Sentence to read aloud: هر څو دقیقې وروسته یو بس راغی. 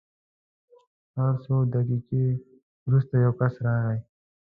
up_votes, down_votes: 2, 1